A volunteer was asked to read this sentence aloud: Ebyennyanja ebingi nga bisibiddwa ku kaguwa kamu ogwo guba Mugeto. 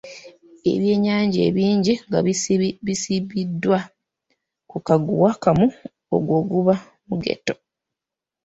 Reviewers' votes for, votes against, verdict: 0, 2, rejected